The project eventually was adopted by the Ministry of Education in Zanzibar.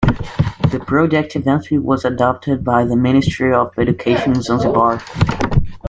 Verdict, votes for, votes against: accepted, 2, 0